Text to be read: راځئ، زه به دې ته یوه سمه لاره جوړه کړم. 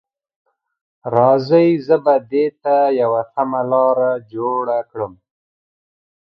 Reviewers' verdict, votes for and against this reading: accepted, 3, 0